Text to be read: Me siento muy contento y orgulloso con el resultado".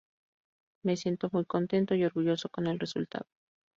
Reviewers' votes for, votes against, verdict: 2, 0, accepted